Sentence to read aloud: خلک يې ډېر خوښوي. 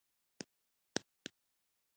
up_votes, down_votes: 1, 2